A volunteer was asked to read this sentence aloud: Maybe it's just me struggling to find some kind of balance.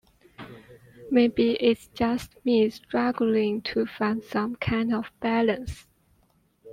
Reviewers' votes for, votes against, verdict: 2, 0, accepted